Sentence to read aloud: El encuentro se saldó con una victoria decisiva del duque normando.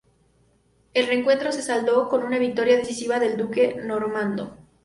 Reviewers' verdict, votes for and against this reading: accepted, 6, 0